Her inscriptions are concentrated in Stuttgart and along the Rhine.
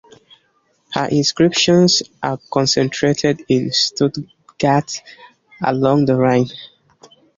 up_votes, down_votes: 2, 1